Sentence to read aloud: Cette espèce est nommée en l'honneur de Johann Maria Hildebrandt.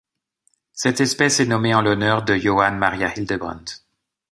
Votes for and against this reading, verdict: 2, 0, accepted